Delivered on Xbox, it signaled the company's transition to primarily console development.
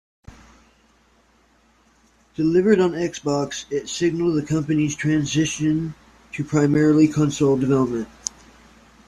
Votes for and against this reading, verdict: 2, 0, accepted